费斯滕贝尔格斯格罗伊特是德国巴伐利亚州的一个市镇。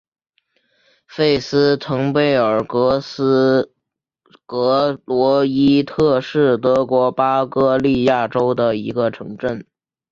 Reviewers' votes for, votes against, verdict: 0, 4, rejected